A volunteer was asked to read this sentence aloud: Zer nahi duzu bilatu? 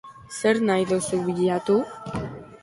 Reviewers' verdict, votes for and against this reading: accepted, 2, 1